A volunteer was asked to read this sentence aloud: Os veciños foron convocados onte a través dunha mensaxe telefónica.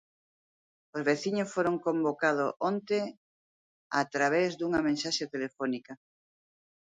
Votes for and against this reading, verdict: 0, 2, rejected